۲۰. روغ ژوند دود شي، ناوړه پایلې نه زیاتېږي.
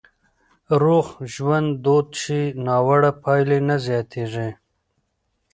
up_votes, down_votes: 0, 2